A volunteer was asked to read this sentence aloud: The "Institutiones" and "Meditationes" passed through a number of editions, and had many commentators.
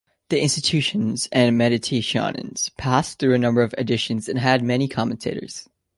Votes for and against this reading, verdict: 2, 0, accepted